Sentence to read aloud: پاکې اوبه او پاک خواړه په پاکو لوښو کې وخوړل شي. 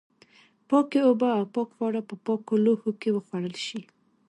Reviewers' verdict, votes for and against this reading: rejected, 0, 2